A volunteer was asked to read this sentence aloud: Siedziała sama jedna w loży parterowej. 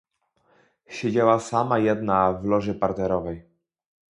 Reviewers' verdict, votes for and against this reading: accepted, 2, 0